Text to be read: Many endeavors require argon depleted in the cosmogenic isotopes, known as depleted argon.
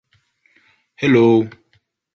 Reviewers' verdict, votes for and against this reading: rejected, 0, 3